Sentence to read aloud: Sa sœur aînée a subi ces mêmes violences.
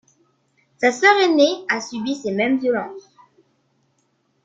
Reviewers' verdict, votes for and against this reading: accepted, 3, 1